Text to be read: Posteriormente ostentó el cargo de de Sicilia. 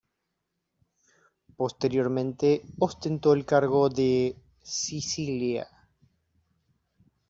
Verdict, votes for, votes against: rejected, 1, 2